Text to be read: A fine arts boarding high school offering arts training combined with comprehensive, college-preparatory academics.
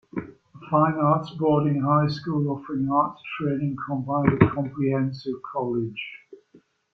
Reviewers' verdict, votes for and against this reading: rejected, 0, 2